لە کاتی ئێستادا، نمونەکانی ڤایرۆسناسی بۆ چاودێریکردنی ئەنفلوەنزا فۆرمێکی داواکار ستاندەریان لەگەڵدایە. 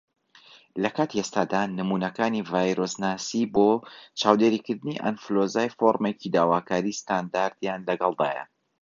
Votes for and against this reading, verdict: 2, 1, accepted